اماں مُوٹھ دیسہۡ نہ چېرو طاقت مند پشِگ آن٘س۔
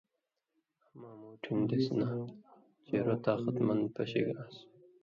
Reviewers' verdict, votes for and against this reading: rejected, 1, 2